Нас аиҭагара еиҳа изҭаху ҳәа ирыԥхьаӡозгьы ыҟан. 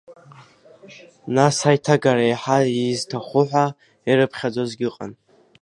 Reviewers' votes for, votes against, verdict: 2, 0, accepted